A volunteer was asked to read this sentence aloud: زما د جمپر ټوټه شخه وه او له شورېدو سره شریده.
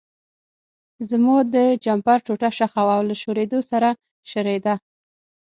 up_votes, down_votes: 6, 0